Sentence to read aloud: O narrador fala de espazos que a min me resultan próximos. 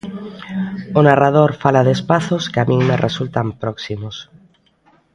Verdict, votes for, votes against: accepted, 2, 0